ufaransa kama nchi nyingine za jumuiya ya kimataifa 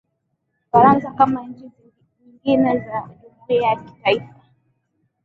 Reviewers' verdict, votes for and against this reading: rejected, 0, 2